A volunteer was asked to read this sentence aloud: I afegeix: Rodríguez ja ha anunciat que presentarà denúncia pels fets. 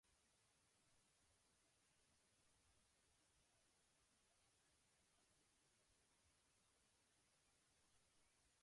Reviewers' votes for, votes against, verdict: 0, 2, rejected